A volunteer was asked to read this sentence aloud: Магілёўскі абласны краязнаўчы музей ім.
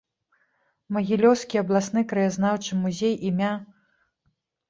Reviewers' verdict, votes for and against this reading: rejected, 0, 2